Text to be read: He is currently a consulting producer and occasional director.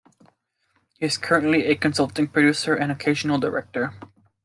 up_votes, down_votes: 2, 0